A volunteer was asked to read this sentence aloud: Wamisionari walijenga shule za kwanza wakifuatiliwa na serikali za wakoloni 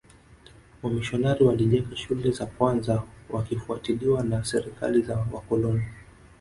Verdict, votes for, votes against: rejected, 1, 2